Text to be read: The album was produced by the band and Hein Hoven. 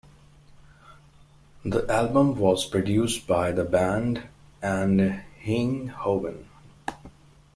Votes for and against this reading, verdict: 2, 0, accepted